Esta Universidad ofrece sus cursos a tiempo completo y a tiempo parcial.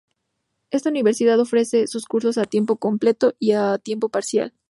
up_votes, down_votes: 2, 0